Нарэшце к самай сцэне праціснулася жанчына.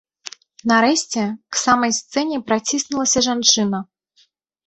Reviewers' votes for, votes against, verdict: 1, 2, rejected